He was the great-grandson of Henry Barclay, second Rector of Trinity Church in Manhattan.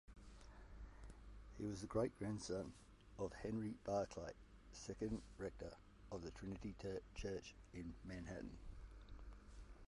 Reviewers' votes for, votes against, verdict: 0, 2, rejected